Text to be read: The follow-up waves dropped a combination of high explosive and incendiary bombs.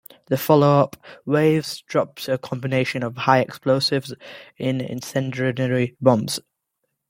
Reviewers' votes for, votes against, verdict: 0, 2, rejected